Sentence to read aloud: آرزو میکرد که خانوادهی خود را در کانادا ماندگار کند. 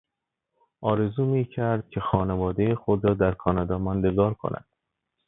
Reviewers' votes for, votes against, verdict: 2, 0, accepted